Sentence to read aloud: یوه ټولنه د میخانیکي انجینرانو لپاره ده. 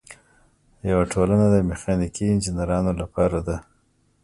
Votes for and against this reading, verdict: 2, 1, accepted